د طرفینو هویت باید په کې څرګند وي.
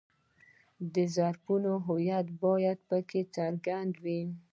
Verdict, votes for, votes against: accepted, 2, 1